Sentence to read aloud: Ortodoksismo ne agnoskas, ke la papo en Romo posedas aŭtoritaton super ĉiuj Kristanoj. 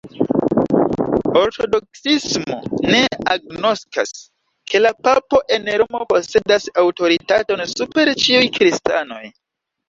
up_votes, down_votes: 1, 2